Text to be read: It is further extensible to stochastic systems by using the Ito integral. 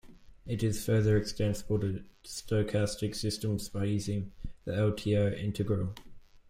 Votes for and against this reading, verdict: 0, 2, rejected